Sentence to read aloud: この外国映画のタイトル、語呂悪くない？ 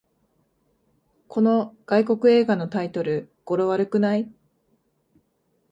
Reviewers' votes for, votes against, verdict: 2, 0, accepted